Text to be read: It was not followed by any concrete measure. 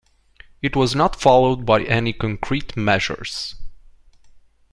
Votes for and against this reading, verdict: 2, 3, rejected